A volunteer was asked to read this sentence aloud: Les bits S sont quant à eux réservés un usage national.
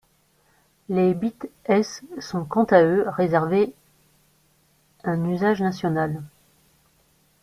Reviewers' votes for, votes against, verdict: 2, 0, accepted